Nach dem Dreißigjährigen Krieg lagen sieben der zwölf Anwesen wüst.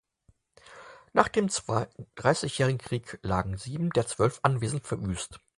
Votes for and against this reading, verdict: 0, 4, rejected